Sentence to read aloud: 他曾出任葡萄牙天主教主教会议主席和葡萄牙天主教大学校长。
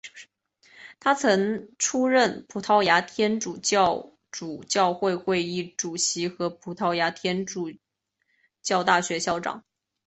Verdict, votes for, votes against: rejected, 1, 2